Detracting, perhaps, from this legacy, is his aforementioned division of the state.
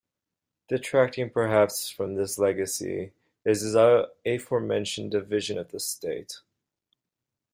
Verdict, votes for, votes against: rejected, 0, 2